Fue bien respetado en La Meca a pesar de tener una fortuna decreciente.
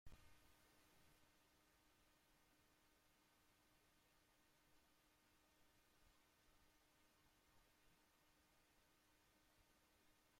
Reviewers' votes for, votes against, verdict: 0, 2, rejected